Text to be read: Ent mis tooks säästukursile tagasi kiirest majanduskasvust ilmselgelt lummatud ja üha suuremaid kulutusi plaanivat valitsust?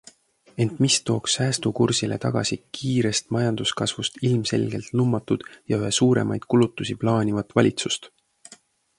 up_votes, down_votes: 2, 0